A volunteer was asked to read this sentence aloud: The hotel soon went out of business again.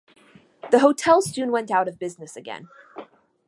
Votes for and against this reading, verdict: 2, 1, accepted